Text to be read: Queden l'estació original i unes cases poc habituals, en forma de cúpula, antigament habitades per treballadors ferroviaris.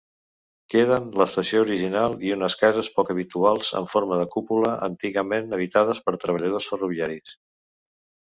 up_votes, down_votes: 1, 2